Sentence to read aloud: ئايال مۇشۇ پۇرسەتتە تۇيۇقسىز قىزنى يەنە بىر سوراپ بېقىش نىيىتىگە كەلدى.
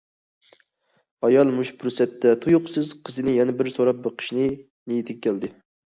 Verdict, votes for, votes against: rejected, 0, 2